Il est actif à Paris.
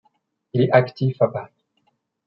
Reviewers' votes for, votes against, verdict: 2, 0, accepted